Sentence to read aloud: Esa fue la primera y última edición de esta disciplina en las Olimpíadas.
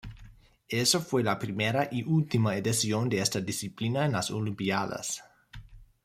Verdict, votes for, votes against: rejected, 0, 2